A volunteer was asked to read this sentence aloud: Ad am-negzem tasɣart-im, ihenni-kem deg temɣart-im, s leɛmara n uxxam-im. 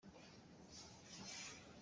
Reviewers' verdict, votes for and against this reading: rejected, 0, 2